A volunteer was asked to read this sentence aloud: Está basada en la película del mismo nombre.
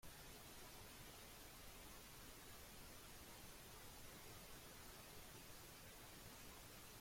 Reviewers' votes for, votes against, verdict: 0, 2, rejected